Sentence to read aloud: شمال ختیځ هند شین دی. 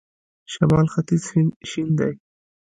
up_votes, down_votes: 1, 2